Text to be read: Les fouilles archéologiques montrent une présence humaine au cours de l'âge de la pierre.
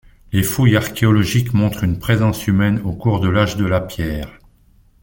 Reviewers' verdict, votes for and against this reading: accepted, 2, 0